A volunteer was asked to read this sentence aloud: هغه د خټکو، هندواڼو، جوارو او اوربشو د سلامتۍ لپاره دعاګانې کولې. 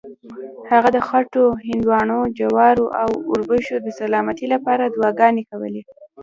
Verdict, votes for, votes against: accepted, 2, 0